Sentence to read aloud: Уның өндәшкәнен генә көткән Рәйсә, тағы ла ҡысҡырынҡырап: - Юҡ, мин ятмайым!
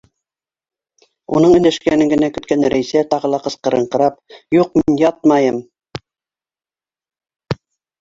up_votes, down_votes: 1, 2